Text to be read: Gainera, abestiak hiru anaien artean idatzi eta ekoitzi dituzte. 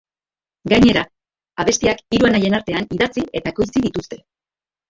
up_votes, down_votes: 2, 0